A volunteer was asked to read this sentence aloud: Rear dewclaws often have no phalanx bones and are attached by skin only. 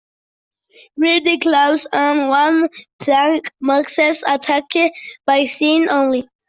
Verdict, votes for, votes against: rejected, 0, 2